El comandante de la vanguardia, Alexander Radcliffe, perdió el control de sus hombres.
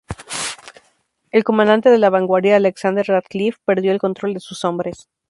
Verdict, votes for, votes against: rejected, 2, 2